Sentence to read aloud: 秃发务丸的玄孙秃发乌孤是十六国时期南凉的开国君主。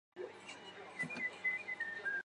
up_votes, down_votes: 0, 2